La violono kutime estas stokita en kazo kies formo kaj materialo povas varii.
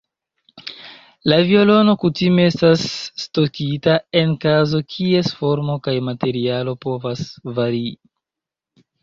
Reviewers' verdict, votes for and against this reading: accepted, 2, 0